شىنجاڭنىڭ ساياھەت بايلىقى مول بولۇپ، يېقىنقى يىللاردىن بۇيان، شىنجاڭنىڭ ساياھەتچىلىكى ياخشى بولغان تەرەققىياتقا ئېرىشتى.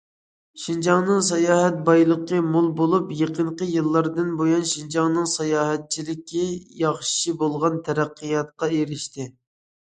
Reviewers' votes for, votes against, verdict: 2, 0, accepted